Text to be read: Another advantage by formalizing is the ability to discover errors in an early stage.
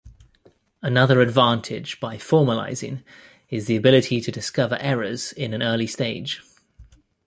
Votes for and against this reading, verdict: 2, 0, accepted